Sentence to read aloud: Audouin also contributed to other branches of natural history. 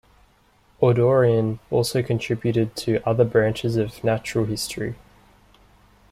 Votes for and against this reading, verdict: 2, 0, accepted